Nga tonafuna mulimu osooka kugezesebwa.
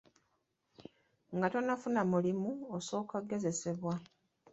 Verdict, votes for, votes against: rejected, 0, 2